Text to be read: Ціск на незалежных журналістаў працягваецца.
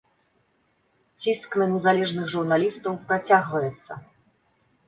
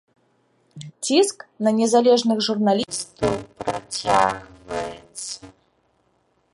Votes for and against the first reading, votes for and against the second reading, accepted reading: 2, 0, 0, 2, first